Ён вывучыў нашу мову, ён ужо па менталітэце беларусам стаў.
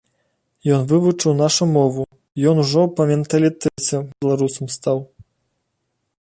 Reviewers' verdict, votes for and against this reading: accepted, 2, 0